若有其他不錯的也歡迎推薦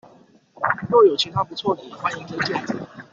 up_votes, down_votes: 1, 2